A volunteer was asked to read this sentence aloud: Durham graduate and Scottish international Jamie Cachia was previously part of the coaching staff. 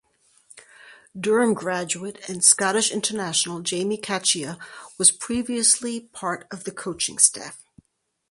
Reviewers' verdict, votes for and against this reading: accepted, 4, 0